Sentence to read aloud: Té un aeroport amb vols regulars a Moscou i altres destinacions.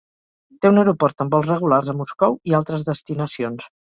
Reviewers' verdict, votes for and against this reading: accepted, 3, 0